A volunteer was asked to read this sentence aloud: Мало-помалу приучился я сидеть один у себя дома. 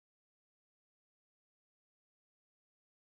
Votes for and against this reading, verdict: 0, 2, rejected